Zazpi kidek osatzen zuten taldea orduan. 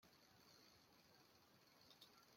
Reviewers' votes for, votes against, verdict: 0, 2, rejected